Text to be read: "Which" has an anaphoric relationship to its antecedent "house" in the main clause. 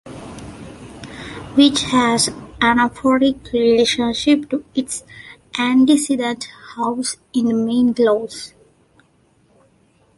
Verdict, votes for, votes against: rejected, 1, 2